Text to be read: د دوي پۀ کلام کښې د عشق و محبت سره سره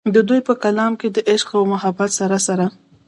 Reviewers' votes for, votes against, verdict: 1, 2, rejected